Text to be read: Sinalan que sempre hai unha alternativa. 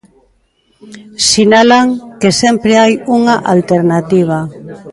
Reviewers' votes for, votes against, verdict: 0, 2, rejected